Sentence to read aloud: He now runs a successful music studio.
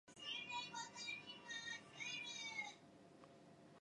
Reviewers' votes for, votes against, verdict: 0, 2, rejected